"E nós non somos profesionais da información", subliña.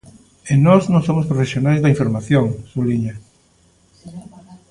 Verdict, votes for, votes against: rejected, 1, 2